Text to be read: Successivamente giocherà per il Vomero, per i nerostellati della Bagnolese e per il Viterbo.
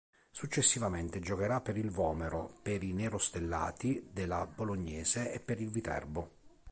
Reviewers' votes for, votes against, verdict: 2, 3, rejected